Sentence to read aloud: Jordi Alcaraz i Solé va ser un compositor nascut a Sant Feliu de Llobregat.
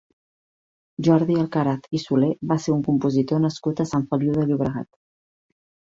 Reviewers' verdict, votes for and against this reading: accepted, 3, 0